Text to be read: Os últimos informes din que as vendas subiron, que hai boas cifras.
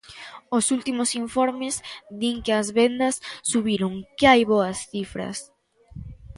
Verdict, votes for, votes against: accepted, 2, 0